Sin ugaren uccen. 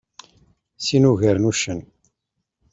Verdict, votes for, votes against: accepted, 2, 0